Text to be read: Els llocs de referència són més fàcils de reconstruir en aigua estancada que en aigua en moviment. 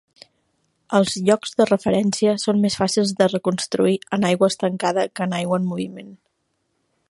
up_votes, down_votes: 2, 0